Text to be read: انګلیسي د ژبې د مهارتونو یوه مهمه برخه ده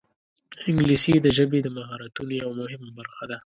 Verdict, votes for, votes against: accepted, 2, 0